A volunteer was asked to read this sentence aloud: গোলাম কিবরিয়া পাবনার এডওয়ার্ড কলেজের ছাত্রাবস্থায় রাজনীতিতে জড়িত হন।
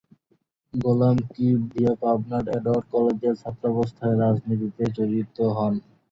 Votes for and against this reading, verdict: 2, 0, accepted